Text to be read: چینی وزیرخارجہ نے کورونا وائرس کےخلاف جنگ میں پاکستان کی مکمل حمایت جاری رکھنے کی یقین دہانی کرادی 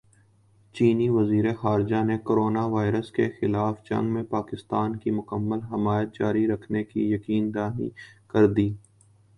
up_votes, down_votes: 2, 0